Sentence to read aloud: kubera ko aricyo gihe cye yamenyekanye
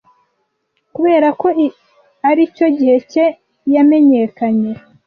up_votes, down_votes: 1, 2